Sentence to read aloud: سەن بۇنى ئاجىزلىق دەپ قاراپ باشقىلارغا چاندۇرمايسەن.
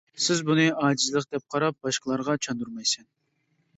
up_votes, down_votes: 0, 2